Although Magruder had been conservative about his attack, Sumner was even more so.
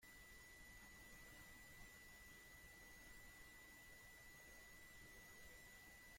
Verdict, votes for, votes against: rejected, 0, 2